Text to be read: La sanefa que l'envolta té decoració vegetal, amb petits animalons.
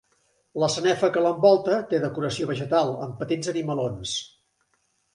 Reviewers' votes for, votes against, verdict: 2, 0, accepted